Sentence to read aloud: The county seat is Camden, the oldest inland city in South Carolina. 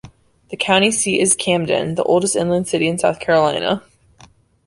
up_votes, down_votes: 2, 1